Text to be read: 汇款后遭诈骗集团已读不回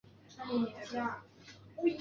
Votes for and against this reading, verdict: 0, 2, rejected